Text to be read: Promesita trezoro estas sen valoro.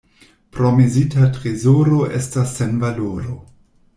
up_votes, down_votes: 1, 2